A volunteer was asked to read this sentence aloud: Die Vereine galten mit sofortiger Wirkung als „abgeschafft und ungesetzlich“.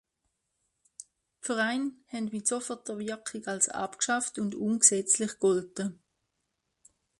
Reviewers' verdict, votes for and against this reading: rejected, 0, 2